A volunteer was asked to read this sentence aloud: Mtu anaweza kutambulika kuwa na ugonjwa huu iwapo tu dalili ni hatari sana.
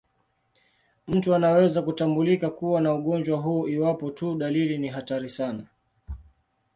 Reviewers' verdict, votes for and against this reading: accepted, 2, 0